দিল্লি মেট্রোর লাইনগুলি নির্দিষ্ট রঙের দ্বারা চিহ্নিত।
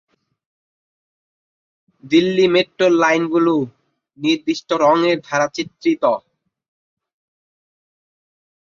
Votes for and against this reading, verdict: 1, 2, rejected